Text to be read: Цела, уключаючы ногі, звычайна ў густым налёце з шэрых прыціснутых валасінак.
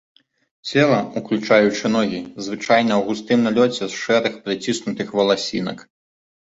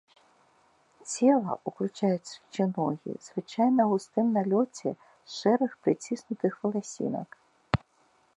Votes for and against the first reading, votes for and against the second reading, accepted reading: 2, 0, 1, 3, first